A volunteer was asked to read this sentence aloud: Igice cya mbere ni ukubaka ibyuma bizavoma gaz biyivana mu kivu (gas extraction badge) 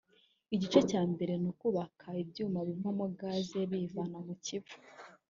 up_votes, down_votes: 1, 2